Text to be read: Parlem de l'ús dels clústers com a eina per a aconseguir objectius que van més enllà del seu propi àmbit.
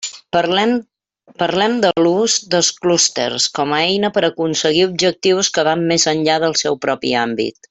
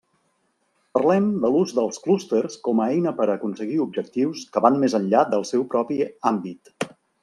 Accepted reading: second